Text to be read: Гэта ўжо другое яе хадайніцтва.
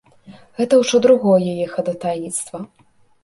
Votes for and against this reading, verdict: 1, 3, rejected